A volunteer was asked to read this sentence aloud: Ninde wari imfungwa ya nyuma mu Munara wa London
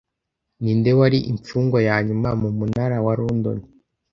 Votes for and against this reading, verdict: 2, 0, accepted